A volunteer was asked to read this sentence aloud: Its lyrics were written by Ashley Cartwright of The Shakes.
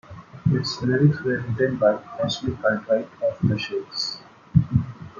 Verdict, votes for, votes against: accepted, 2, 1